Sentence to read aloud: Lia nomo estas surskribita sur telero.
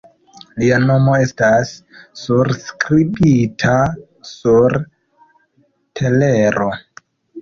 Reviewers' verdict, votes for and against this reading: accepted, 2, 1